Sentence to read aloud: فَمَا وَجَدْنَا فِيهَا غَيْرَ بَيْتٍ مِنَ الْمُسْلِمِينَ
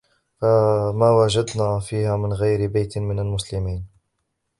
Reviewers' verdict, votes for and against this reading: rejected, 1, 2